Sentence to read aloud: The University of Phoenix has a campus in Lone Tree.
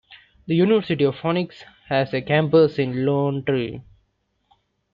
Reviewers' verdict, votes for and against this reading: rejected, 1, 2